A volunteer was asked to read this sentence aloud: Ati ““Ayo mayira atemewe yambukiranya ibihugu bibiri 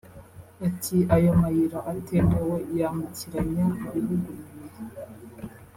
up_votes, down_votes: 1, 2